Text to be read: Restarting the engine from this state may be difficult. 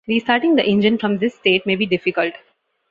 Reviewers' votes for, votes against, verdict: 2, 0, accepted